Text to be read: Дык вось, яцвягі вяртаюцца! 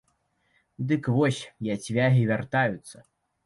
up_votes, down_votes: 2, 0